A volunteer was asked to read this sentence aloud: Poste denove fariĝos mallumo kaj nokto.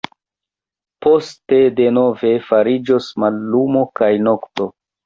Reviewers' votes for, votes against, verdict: 2, 1, accepted